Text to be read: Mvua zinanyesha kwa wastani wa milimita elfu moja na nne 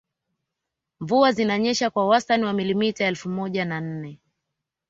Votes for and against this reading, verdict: 0, 2, rejected